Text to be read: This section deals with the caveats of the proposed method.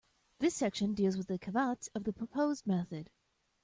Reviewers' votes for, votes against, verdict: 0, 2, rejected